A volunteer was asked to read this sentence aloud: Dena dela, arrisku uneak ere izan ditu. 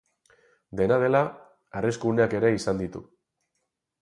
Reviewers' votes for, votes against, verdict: 4, 0, accepted